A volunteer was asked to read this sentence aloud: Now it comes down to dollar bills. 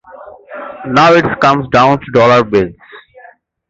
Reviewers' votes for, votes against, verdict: 2, 0, accepted